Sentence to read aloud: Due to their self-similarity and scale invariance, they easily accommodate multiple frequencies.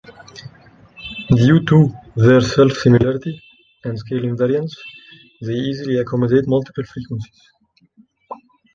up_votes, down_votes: 2, 0